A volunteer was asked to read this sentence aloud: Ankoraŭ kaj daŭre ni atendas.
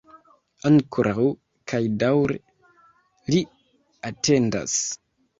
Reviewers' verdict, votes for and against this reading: rejected, 1, 2